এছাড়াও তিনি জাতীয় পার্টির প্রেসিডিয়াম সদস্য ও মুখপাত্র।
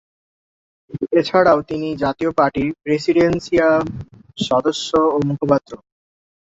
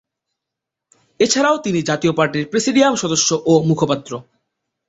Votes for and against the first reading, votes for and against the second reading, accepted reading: 0, 2, 3, 0, second